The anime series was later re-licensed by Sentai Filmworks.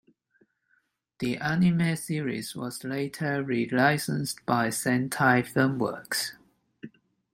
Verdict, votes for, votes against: accepted, 2, 0